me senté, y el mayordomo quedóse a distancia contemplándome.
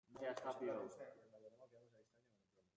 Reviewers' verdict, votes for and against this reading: rejected, 0, 2